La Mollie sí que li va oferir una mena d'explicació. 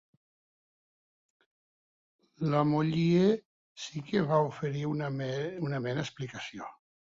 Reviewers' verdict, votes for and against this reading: rejected, 0, 2